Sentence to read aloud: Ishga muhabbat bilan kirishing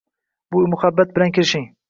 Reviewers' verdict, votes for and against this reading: rejected, 0, 2